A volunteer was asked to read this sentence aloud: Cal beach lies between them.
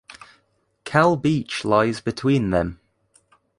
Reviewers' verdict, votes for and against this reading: accepted, 2, 0